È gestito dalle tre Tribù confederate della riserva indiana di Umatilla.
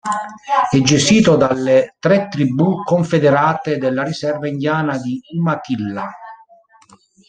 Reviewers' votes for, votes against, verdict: 0, 2, rejected